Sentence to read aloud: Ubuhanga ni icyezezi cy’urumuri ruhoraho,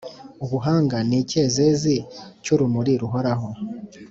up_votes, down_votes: 2, 0